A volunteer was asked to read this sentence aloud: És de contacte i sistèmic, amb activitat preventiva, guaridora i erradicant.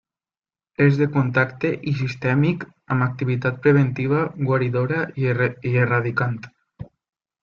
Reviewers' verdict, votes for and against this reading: accepted, 3, 0